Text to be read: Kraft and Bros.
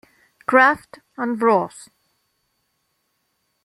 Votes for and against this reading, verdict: 2, 0, accepted